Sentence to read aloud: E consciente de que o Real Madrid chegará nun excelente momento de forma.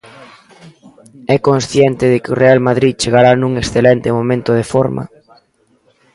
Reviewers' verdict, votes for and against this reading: accepted, 2, 0